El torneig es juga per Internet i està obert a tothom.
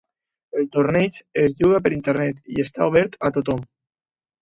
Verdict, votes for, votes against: accepted, 2, 0